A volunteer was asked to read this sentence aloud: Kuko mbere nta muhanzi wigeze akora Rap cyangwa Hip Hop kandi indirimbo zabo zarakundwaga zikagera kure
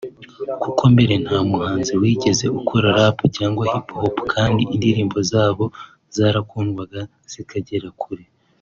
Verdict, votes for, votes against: accepted, 2, 0